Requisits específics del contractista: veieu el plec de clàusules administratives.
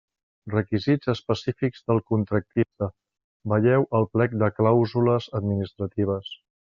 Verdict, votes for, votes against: rejected, 1, 2